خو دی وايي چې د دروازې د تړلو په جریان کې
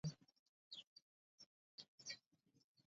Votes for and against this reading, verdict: 0, 2, rejected